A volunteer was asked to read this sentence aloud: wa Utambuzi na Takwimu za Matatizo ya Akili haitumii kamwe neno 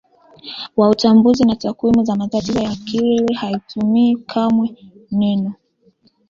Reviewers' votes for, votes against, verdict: 2, 1, accepted